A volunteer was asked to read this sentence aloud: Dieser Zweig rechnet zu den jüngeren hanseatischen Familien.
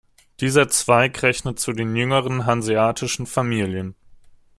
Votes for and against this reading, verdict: 2, 0, accepted